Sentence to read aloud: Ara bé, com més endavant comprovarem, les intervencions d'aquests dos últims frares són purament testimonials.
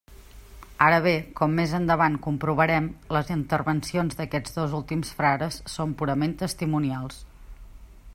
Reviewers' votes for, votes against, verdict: 3, 0, accepted